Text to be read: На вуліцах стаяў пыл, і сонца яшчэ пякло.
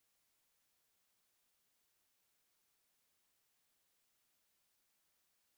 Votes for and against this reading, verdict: 0, 2, rejected